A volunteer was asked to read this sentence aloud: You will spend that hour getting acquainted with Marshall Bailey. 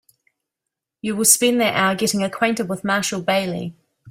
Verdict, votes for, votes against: accepted, 2, 0